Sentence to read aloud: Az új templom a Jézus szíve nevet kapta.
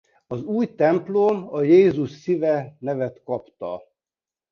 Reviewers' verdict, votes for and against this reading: accepted, 2, 0